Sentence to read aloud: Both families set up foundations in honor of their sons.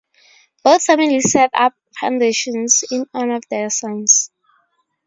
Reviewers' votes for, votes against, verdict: 4, 0, accepted